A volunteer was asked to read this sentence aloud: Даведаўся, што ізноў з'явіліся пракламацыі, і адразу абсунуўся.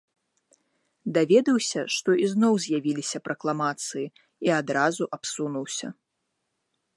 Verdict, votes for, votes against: accepted, 2, 0